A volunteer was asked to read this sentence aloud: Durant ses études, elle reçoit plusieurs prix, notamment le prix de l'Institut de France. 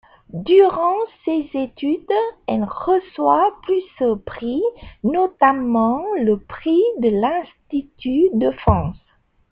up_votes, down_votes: 2, 1